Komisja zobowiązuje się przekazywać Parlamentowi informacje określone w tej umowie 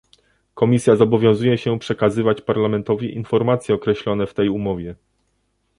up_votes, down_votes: 2, 0